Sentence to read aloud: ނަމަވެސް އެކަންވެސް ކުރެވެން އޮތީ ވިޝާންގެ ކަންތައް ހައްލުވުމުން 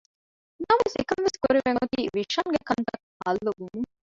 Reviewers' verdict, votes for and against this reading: rejected, 0, 2